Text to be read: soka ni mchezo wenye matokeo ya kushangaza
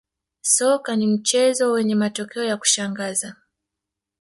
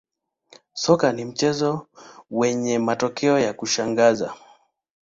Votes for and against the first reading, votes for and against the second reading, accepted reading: 2, 0, 1, 2, first